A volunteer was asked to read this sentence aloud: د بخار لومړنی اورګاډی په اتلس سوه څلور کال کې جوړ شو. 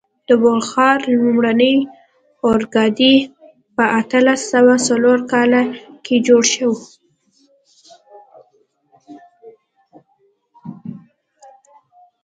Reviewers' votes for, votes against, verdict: 1, 2, rejected